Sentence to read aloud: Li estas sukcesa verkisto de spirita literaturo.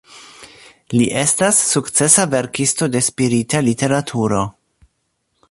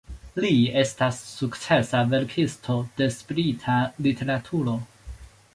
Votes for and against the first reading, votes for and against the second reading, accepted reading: 2, 0, 1, 2, first